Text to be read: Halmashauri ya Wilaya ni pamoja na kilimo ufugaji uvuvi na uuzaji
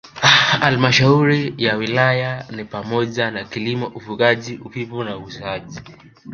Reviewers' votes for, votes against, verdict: 0, 2, rejected